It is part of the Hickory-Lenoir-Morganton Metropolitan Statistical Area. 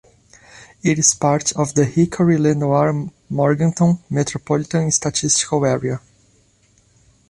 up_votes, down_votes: 2, 0